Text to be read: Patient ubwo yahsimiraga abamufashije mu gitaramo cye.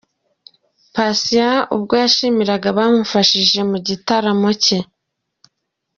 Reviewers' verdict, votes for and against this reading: rejected, 1, 2